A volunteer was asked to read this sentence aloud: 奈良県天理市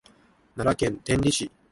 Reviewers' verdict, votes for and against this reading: accepted, 3, 0